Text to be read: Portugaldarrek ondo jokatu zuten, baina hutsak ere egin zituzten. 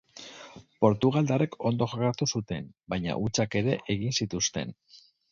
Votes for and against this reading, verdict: 6, 0, accepted